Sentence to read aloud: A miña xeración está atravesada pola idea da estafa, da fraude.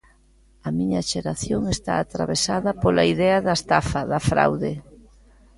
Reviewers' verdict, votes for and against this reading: accepted, 2, 0